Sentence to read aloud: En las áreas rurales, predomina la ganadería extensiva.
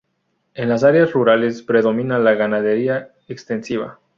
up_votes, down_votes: 0, 2